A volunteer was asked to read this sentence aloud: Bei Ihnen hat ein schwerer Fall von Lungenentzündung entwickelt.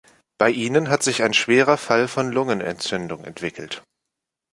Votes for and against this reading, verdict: 1, 2, rejected